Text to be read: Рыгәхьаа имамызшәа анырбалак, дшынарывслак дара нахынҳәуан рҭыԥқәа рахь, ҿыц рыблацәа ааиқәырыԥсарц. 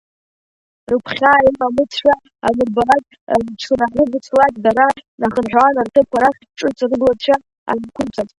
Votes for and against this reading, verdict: 0, 2, rejected